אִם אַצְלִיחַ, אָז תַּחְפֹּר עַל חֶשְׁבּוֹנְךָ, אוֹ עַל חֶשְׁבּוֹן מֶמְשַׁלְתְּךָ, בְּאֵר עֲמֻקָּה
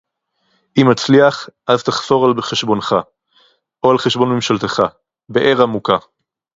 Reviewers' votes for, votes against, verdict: 2, 2, rejected